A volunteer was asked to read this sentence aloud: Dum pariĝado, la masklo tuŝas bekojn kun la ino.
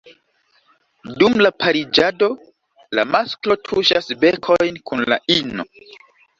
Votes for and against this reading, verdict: 1, 2, rejected